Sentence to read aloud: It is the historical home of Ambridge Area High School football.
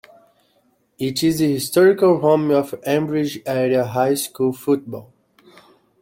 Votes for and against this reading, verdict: 2, 0, accepted